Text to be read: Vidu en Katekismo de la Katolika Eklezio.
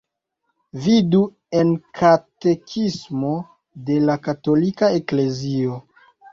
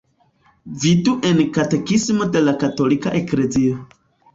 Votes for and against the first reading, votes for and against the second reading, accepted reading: 2, 0, 1, 2, first